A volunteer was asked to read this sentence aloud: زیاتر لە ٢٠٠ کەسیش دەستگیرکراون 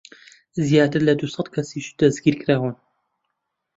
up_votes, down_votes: 0, 2